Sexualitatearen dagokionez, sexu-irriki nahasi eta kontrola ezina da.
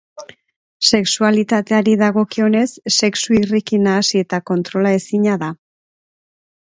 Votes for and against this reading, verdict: 3, 1, accepted